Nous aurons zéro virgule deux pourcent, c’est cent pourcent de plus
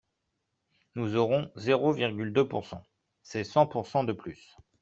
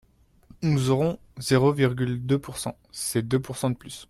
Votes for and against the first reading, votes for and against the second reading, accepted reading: 2, 0, 1, 2, first